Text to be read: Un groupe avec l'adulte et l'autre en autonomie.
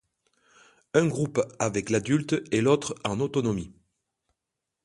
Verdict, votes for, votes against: accepted, 2, 0